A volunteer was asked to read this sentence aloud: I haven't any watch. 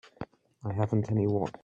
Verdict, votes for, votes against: rejected, 0, 2